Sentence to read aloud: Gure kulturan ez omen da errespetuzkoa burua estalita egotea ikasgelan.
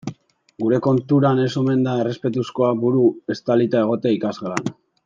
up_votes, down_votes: 1, 2